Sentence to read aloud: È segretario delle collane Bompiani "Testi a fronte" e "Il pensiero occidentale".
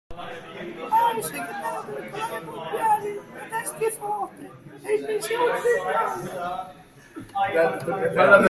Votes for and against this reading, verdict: 0, 2, rejected